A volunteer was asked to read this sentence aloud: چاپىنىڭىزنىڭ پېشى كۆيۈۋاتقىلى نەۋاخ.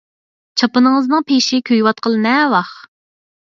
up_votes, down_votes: 4, 0